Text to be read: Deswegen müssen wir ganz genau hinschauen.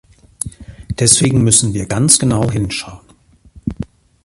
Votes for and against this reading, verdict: 2, 0, accepted